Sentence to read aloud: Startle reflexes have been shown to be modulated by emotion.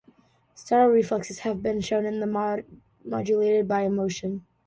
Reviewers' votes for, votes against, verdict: 0, 2, rejected